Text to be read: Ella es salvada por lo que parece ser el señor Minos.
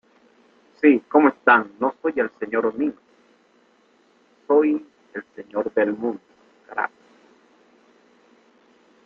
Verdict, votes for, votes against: rejected, 0, 2